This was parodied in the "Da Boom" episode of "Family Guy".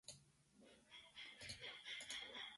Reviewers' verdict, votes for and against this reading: rejected, 0, 2